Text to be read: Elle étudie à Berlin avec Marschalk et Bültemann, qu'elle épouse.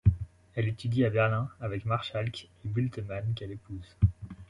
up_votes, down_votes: 2, 0